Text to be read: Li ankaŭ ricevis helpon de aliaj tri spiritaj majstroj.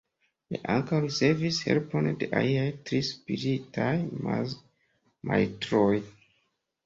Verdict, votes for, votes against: accepted, 2, 1